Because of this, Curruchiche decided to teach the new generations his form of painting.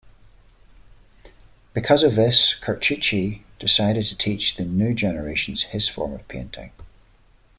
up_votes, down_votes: 2, 0